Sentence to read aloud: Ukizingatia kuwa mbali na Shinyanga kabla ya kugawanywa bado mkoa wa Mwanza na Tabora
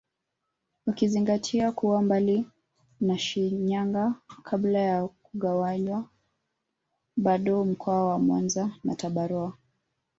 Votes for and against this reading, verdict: 0, 2, rejected